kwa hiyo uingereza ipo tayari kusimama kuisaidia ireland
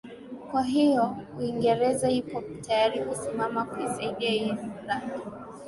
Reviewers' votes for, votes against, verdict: 2, 0, accepted